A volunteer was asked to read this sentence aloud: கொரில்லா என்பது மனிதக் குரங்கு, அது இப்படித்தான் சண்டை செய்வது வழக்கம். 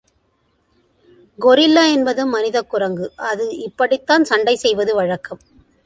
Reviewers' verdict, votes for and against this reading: accepted, 2, 0